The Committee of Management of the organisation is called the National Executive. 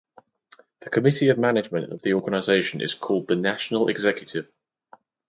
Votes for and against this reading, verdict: 4, 0, accepted